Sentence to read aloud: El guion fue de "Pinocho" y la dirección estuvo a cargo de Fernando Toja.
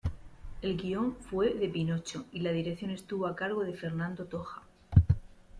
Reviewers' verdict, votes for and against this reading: accepted, 2, 0